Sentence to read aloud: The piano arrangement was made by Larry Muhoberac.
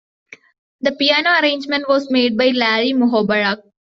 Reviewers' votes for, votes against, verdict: 2, 0, accepted